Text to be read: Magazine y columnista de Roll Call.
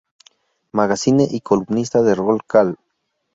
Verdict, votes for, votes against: rejected, 2, 2